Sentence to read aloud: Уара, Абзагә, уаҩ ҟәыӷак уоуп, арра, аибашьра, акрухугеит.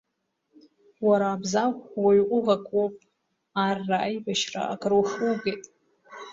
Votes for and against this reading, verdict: 2, 1, accepted